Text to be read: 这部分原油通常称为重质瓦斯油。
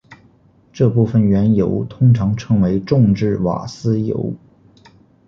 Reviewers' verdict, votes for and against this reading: accepted, 2, 0